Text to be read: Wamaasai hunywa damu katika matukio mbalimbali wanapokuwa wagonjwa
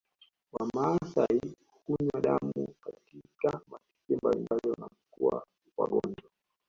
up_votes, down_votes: 2, 1